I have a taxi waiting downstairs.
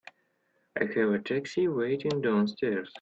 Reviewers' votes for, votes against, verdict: 1, 2, rejected